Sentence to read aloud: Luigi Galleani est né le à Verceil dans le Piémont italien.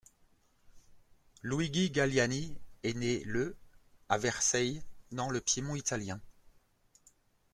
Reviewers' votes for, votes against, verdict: 1, 2, rejected